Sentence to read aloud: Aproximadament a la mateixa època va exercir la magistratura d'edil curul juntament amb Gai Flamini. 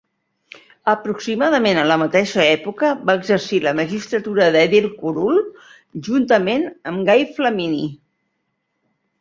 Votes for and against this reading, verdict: 2, 0, accepted